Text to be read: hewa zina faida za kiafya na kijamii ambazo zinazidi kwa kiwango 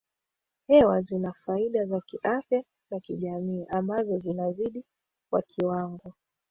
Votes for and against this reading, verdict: 2, 1, accepted